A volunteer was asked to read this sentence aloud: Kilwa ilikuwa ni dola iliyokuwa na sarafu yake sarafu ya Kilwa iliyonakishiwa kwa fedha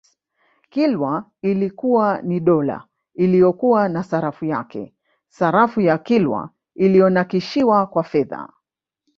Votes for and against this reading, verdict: 0, 2, rejected